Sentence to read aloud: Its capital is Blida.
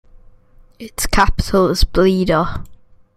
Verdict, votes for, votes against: accepted, 8, 0